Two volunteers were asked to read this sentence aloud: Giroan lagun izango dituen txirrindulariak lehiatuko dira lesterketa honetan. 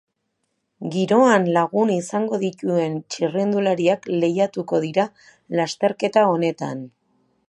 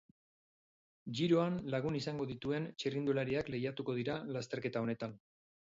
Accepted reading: first